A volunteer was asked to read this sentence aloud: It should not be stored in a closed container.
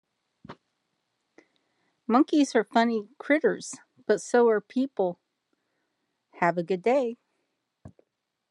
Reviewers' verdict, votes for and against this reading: rejected, 1, 2